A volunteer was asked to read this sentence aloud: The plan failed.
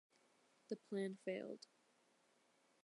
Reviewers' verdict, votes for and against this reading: accepted, 2, 0